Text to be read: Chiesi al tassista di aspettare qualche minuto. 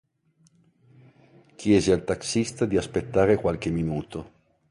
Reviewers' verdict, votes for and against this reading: rejected, 1, 2